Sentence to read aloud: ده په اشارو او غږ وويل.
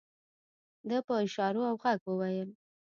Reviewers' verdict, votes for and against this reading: rejected, 0, 2